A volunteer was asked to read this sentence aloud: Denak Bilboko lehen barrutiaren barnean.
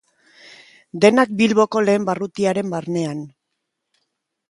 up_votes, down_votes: 3, 0